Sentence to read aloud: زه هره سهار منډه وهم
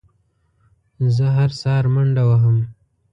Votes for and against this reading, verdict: 2, 0, accepted